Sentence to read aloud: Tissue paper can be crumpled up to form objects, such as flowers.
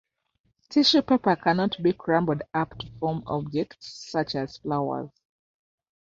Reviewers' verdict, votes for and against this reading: rejected, 1, 2